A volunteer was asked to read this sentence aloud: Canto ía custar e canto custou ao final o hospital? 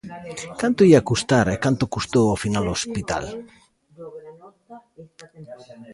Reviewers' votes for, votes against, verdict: 1, 2, rejected